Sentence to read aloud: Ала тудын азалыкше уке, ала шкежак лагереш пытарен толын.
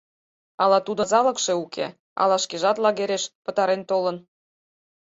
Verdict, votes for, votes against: rejected, 2, 4